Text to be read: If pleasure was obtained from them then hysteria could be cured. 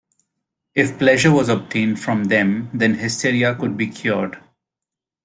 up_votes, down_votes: 2, 0